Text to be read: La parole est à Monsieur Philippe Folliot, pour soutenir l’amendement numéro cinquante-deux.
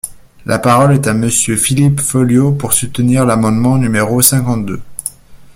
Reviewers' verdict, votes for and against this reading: accepted, 2, 0